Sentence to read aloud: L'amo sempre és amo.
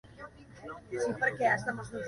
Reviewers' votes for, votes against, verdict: 0, 2, rejected